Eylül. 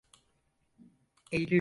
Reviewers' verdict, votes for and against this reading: rejected, 0, 4